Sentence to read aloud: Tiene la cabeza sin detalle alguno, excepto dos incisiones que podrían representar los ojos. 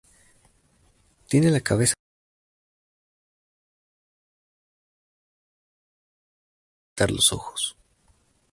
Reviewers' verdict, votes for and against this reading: rejected, 0, 4